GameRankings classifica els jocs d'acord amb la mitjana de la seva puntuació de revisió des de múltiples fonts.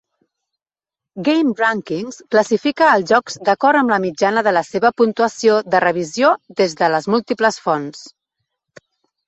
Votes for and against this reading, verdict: 1, 4, rejected